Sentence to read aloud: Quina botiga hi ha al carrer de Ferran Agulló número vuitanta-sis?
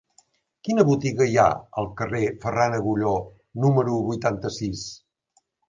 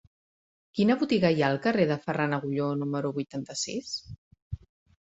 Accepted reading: second